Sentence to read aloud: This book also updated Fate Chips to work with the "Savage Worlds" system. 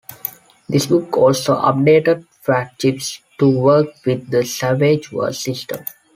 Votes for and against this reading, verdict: 0, 2, rejected